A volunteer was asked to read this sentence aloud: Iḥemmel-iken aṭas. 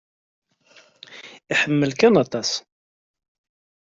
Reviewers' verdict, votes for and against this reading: rejected, 0, 2